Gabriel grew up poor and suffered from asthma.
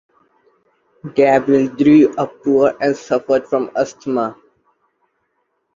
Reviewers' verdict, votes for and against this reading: rejected, 1, 2